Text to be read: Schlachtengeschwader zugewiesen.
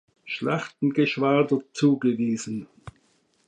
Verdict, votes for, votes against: accepted, 2, 0